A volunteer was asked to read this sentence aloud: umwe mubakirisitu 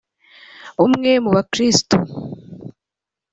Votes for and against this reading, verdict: 2, 0, accepted